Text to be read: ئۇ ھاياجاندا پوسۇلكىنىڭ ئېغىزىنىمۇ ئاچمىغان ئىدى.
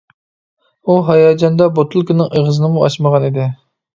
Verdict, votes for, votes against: rejected, 0, 2